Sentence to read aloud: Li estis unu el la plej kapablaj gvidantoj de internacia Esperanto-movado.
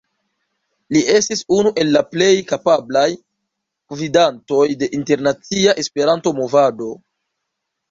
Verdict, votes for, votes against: accepted, 2, 0